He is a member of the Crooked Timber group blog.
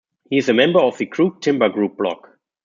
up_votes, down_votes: 0, 2